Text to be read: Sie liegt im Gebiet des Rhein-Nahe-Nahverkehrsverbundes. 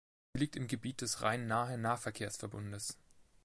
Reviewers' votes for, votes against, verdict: 1, 2, rejected